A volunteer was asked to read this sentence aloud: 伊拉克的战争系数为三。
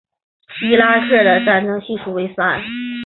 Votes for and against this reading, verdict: 1, 2, rejected